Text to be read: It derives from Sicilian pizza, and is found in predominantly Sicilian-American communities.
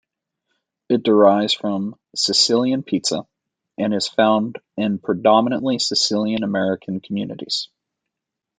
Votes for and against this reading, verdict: 2, 0, accepted